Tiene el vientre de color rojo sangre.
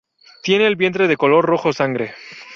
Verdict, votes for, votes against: rejected, 0, 2